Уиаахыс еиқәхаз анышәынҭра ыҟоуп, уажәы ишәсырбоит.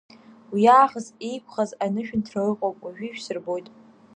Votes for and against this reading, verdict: 2, 0, accepted